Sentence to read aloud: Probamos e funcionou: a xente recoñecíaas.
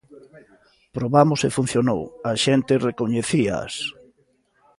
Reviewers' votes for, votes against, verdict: 2, 0, accepted